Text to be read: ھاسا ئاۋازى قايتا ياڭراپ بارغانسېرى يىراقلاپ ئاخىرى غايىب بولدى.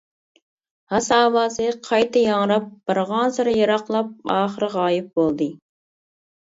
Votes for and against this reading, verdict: 2, 0, accepted